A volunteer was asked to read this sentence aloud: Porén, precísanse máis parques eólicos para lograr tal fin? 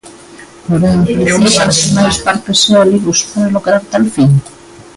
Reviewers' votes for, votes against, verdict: 1, 2, rejected